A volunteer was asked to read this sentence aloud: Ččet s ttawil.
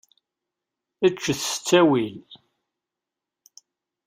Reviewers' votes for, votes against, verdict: 2, 0, accepted